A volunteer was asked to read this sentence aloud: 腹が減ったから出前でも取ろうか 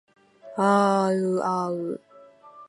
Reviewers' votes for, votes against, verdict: 1, 3, rejected